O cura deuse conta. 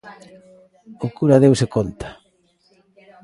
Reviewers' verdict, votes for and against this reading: accepted, 2, 0